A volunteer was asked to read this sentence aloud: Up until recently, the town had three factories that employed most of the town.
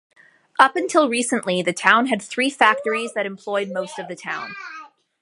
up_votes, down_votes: 3, 0